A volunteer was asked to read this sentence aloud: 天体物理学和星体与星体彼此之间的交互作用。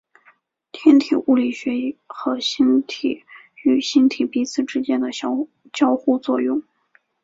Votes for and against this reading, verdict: 3, 1, accepted